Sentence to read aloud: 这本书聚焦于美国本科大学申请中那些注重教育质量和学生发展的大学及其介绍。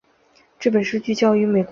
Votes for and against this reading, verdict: 3, 4, rejected